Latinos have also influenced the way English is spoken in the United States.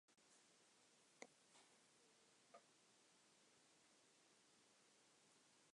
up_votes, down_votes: 0, 9